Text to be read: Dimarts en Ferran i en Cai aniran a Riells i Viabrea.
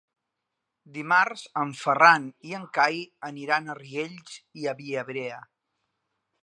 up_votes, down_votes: 0, 2